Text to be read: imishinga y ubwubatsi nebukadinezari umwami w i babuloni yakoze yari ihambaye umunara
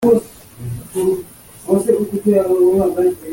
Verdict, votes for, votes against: rejected, 1, 2